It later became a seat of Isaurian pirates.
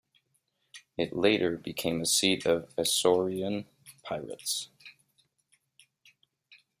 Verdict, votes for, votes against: accepted, 2, 0